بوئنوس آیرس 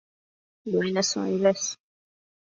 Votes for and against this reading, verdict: 0, 2, rejected